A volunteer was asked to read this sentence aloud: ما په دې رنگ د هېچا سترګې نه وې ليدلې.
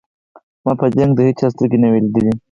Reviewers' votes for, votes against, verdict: 0, 4, rejected